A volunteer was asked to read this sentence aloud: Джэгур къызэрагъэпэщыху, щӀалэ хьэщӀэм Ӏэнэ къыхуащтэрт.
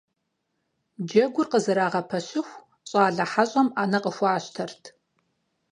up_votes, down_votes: 4, 0